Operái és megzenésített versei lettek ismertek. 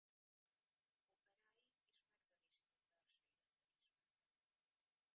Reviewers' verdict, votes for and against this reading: rejected, 0, 2